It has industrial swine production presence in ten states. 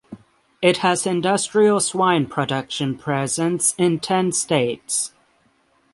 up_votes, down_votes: 3, 3